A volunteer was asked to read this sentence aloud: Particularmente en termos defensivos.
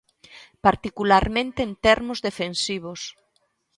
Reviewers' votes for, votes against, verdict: 3, 0, accepted